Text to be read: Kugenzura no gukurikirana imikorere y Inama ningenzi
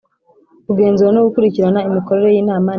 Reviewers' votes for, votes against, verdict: 0, 2, rejected